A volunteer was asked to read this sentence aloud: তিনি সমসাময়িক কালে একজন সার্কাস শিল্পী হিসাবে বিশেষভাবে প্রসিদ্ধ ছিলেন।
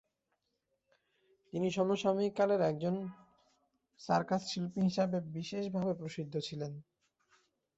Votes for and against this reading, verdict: 2, 0, accepted